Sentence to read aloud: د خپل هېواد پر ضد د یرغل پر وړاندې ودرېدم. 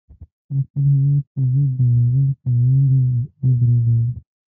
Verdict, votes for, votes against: rejected, 1, 2